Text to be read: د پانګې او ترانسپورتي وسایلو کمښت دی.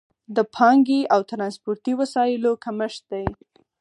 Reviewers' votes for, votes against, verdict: 4, 0, accepted